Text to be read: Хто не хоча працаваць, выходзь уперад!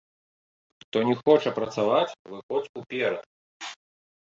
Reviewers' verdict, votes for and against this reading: accepted, 2, 1